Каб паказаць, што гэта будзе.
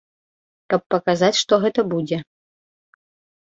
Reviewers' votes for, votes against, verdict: 2, 1, accepted